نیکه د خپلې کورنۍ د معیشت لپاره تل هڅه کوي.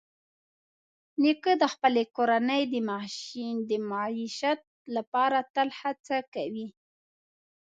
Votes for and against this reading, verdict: 0, 2, rejected